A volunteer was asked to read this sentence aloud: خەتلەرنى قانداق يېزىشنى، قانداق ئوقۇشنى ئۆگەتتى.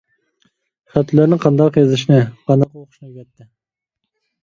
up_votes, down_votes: 0, 2